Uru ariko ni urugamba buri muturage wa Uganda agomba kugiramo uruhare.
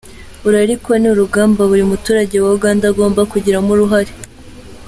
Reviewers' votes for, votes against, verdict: 2, 0, accepted